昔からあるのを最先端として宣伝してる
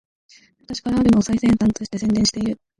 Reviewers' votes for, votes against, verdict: 0, 2, rejected